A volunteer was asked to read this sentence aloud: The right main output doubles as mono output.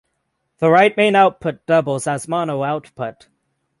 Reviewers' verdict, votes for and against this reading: accepted, 6, 0